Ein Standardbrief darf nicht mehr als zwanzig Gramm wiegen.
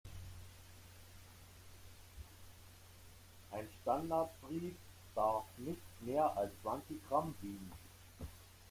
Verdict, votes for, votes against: accepted, 2, 1